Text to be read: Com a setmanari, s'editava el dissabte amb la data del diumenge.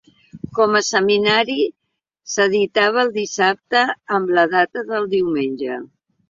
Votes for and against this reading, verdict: 1, 2, rejected